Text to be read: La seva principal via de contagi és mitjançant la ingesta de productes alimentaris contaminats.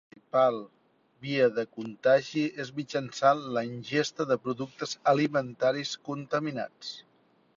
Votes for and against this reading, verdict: 0, 2, rejected